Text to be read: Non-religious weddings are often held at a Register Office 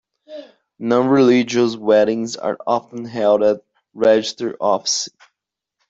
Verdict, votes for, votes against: accepted, 2, 0